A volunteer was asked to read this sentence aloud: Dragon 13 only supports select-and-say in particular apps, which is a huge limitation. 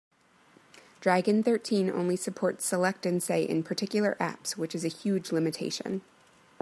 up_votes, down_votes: 0, 2